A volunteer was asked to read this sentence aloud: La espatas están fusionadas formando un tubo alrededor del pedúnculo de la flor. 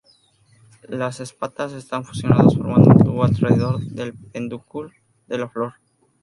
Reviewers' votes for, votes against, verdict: 2, 0, accepted